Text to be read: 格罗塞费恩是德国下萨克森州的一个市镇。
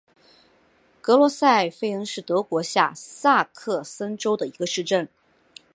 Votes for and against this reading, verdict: 2, 0, accepted